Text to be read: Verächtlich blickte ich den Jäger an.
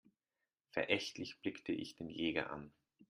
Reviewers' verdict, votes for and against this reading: accepted, 2, 0